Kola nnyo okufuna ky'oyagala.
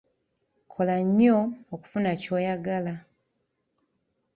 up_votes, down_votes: 2, 1